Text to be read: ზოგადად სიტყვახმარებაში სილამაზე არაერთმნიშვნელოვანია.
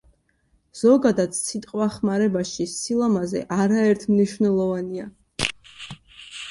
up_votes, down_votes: 0, 2